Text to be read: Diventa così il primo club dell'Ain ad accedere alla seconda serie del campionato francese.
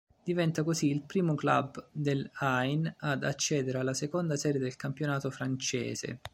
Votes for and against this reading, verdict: 2, 0, accepted